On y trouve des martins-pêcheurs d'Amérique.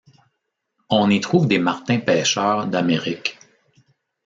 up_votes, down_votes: 2, 0